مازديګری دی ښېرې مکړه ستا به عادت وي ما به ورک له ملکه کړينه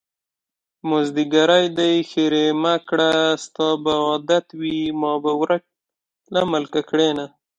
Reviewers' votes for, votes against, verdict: 2, 0, accepted